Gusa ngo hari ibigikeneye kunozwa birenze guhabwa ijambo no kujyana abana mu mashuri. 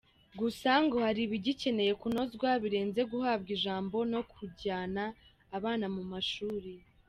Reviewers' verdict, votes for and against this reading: accepted, 2, 0